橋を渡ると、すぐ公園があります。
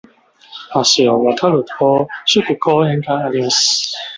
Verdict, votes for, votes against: rejected, 1, 2